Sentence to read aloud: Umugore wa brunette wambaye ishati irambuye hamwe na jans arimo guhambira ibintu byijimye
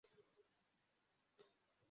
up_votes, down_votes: 0, 2